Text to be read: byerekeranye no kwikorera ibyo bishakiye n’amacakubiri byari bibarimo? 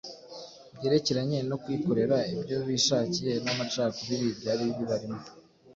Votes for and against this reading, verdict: 2, 0, accepted